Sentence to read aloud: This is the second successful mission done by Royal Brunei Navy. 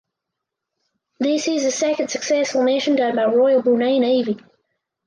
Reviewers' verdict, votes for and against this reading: accepted, 4, 0